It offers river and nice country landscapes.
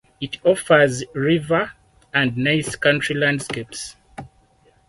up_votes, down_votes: 4, 2